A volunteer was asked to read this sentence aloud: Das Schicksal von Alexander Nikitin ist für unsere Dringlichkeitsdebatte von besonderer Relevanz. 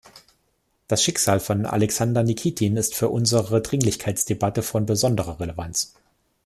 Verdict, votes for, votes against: accepted, 2, 0